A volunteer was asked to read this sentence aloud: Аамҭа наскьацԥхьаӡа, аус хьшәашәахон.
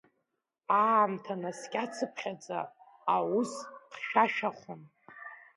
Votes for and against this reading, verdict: 0, 2, rejected